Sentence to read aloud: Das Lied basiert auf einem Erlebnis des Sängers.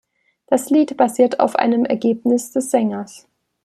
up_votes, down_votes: 0, 2